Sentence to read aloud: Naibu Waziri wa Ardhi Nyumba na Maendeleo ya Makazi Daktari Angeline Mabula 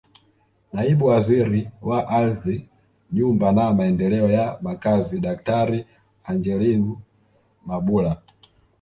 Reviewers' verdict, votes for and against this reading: rejected, 0, 2